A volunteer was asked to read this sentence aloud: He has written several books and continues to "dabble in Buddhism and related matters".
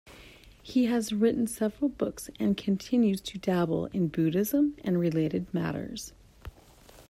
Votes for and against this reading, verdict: 2, 0, accepted